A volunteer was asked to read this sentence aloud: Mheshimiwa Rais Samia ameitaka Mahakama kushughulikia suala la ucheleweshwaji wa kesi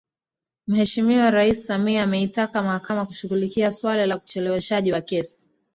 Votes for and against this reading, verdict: 3, 0, accepted